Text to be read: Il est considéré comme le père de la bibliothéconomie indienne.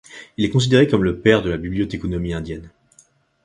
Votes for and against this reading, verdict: 2, 0, accepted